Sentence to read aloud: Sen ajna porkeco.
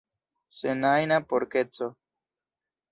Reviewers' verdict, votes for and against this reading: accepted, 2, 0